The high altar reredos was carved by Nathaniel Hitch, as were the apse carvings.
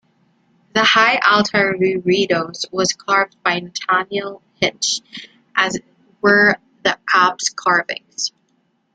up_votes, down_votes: 1, 2